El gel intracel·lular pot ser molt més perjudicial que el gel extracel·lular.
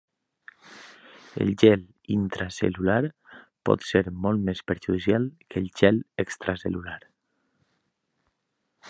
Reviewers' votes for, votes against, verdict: 3, 0, accepted